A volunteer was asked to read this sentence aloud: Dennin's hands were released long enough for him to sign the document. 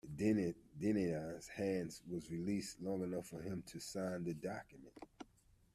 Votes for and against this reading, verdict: 0, 2, rejected